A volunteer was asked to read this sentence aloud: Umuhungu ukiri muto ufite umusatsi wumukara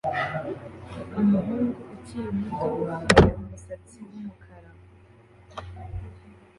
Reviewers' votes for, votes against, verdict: 2, 1, accepted